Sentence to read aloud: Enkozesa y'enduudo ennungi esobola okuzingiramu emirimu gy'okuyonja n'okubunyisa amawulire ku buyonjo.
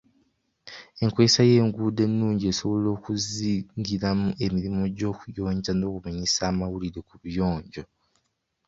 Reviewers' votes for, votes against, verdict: 2, 1, accepted